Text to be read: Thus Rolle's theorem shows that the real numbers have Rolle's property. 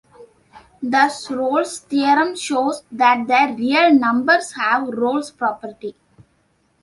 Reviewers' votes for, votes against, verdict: 2, 0, accepted